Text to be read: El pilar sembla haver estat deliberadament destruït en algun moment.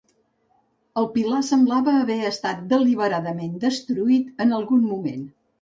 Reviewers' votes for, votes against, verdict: 1, 2, rejected